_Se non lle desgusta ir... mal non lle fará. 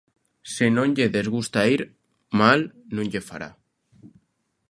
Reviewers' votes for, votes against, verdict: 2, 0, accepted